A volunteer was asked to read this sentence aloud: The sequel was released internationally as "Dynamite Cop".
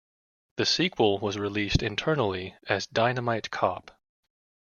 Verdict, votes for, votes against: rejected, 1, 2